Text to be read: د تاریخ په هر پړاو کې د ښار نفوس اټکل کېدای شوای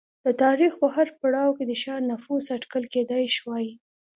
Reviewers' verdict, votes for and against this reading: accepted, 2, 0